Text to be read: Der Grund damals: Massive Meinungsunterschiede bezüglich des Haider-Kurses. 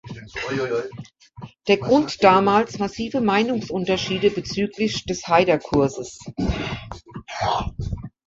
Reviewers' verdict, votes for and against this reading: rejected, 1, 2